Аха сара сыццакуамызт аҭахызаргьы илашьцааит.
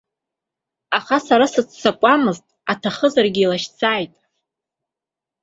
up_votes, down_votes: 2, 0